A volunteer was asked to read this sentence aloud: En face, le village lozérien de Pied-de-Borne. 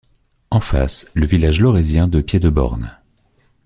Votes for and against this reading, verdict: 1, 2, rejected